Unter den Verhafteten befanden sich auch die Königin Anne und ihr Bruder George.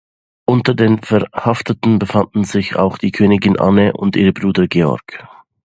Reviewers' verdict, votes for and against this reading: rejected, 1, 2